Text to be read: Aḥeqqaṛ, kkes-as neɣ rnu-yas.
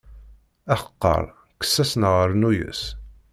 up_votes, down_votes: 2, 0